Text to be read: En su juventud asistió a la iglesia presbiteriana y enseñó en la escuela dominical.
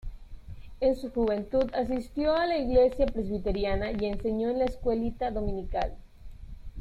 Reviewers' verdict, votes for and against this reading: rejected, 0, 2